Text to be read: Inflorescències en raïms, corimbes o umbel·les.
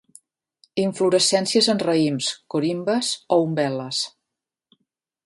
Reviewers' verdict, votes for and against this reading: accepted, 3, 0